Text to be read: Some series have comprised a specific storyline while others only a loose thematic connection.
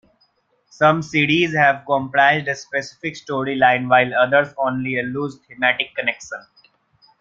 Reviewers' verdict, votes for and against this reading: accepted, 2, 1